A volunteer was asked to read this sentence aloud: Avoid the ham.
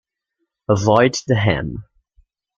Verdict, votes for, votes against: accepted, 2, 0